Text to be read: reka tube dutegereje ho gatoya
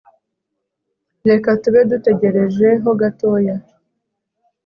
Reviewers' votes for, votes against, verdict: 2, 0, accepted